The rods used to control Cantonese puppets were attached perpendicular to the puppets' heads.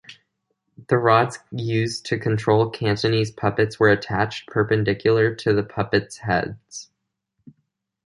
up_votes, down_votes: 2, 0